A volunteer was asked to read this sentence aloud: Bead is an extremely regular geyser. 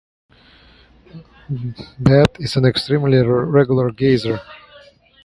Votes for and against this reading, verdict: 0, 4, rejected